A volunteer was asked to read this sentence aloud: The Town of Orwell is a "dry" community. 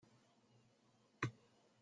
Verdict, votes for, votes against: rejected, 0, 2